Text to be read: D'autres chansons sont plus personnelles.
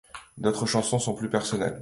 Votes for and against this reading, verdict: 2, 0, accepted